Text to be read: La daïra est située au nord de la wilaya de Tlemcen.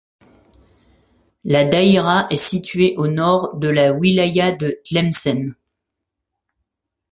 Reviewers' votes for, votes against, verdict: 2, 0, accepted